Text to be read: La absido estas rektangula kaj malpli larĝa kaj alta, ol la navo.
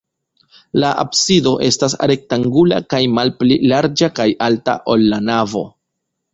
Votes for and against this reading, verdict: 1, 2, rejected